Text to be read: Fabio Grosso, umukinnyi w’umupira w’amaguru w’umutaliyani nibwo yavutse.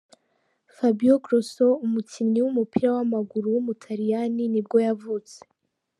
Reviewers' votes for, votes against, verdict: 2, 0, accepted